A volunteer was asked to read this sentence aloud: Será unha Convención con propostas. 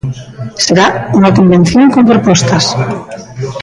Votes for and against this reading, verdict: 0, 2, rejected